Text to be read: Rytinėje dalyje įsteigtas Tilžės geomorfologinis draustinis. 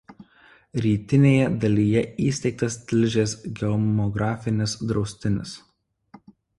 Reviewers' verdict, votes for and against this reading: rejected, 0, 2